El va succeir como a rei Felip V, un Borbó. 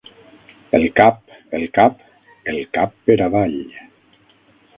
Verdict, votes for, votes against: rejected, 0, 6